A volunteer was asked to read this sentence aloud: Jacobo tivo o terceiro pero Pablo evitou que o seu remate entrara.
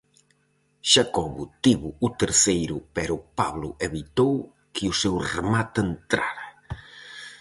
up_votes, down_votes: 0, 4